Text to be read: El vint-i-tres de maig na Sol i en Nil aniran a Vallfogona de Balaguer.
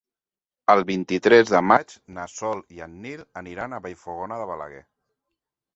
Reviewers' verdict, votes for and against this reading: accepted, 3, 0